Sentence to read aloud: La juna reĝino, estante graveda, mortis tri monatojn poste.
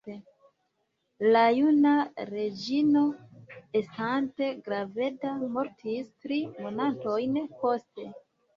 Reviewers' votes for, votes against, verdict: 0, 2, rejected